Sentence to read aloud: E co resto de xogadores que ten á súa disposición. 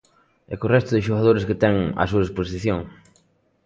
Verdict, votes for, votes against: accepted, 2, 0